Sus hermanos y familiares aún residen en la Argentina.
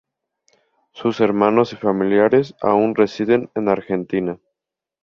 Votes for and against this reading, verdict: 2, 0, accepted